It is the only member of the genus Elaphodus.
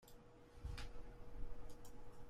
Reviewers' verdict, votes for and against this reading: rejected, 0, 2